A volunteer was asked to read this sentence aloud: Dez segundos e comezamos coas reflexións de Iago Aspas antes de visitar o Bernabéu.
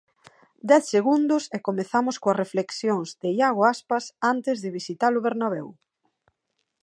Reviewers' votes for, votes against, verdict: 3, 0, accepted